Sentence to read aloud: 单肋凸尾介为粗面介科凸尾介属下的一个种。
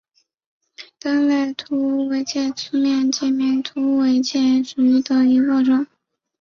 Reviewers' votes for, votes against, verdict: 0, 2, rejected